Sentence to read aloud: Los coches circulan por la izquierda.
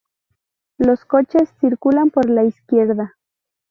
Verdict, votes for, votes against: accepted, 2, 0